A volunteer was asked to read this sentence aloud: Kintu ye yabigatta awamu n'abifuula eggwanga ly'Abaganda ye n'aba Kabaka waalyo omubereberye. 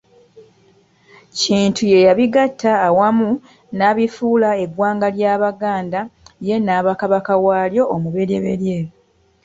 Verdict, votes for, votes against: accepted, 2, 0